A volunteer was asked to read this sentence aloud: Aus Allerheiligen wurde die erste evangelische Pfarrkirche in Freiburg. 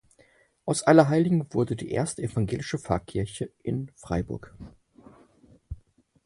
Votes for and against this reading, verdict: 4, 0, accepted